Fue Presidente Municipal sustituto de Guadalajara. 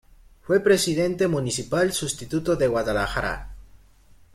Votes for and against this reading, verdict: 2, 0, accepted